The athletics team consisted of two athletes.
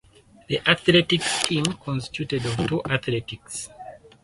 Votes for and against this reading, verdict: 0, 4, rejected